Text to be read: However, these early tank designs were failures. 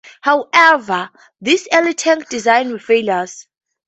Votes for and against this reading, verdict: 2, 0, accepted